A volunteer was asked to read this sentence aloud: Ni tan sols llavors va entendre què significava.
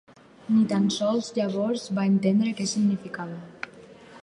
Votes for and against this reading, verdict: 4, 0, accepted